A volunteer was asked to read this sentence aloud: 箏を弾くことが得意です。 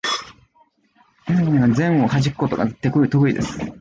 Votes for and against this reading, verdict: 0, 2, rejected